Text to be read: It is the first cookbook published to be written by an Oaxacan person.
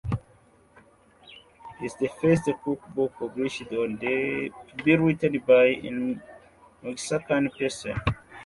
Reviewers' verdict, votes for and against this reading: rejected, 1, 2